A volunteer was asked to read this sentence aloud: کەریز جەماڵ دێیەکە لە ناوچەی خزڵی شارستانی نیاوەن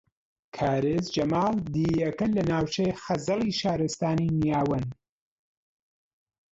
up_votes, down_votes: 1, 5